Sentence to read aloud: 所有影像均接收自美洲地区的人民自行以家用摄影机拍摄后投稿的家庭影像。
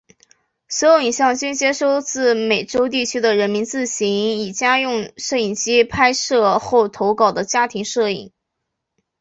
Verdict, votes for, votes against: accepted, 2, 0